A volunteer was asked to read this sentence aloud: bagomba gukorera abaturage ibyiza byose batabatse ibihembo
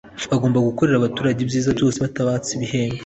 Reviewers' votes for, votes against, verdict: 2, 0, accepted